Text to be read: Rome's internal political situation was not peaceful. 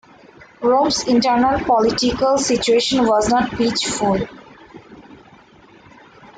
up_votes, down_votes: 1, 2